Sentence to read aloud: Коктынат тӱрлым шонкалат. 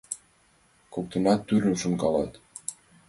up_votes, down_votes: 2, 1